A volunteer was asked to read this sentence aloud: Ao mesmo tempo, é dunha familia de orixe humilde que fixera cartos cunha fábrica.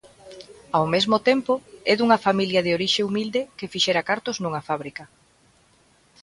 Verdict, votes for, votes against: rejected, 1, 2